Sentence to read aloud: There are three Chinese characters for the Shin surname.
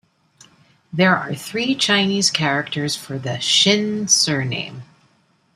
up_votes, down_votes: 2, 0